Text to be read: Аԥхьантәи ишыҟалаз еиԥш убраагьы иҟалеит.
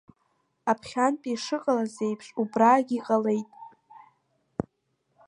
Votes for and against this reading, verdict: 1, 2, rejected